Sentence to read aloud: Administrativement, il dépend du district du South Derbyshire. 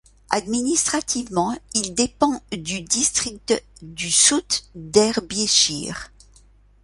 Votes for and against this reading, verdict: 0, 2, rejected